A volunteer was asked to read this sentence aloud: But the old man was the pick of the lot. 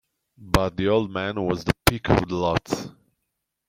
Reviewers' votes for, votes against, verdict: 0, 2, rejected